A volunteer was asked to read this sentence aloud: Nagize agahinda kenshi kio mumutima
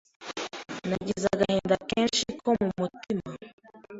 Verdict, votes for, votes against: rejected, 1, 2